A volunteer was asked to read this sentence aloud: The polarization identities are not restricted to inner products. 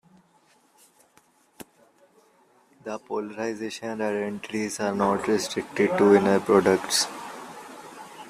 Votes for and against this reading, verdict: 0, 2, rejected